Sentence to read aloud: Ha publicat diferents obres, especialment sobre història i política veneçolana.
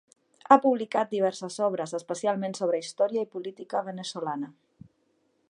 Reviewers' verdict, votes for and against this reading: rejected, 0, 2